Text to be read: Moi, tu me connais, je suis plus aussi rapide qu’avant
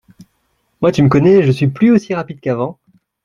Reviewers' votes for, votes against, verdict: 2, 0, accepted